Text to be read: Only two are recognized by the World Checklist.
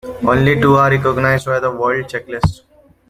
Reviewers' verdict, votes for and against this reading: accepted, 2, 1